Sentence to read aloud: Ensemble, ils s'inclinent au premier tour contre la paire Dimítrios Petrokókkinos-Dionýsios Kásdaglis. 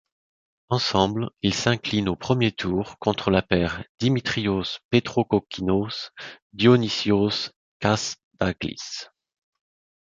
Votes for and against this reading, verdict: 1, 2, rejected